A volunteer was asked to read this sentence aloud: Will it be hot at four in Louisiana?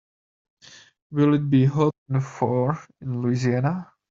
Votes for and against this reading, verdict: 2, 0, accepted